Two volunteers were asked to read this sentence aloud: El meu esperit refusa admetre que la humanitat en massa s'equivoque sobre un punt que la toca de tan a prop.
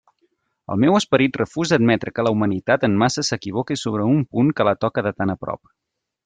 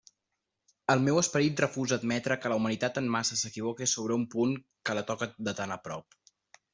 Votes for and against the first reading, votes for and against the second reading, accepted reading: 1, 2, 2, 0, second